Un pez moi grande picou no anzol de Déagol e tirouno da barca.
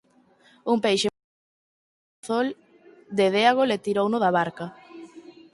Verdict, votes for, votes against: rejected, 0, 4